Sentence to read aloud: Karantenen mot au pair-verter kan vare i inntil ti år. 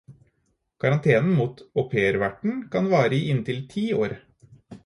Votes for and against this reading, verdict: 2, 4, rejected